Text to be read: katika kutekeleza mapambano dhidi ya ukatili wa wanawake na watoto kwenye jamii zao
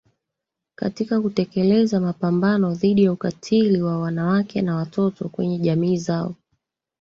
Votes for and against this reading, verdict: 0, 2, rejected